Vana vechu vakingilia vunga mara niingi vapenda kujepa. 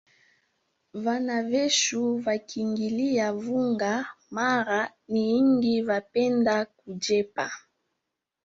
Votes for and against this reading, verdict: 3, 1, accepted